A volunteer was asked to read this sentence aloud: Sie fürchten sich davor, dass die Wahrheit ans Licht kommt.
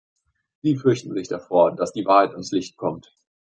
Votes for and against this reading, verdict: 2, 1, accepted